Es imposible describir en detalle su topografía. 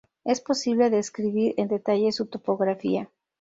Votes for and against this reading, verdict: 0, 2, rejected